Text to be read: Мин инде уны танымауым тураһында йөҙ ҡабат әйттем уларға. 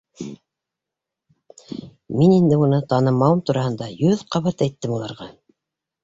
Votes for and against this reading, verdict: 1, 2, rejected